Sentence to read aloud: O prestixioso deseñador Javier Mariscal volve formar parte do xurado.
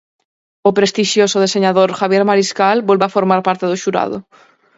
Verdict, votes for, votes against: rejected, 0, 4